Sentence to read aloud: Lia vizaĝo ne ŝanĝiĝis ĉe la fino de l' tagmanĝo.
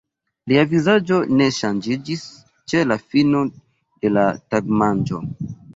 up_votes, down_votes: 0, 2